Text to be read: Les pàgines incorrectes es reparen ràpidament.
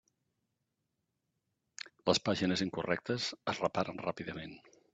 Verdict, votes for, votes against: accepted, 3, 0